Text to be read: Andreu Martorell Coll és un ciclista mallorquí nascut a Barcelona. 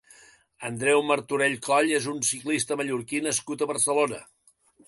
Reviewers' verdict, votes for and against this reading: accepted, 2, 0